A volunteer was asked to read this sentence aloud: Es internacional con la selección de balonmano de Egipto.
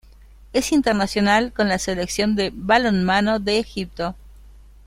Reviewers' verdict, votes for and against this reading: accepted, 2, 0